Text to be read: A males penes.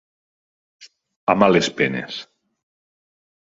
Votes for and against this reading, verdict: 2, 0, accepted